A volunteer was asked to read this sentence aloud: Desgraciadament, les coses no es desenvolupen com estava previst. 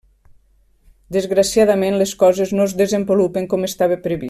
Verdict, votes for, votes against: rejected, 1, 2